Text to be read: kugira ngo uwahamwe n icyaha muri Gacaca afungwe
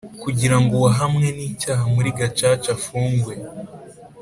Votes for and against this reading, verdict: 5, 0, accepted